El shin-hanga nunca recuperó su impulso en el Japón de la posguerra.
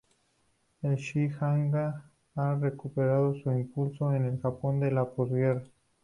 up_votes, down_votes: 0, 2